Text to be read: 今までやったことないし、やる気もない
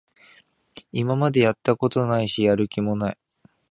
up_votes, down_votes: 2, 0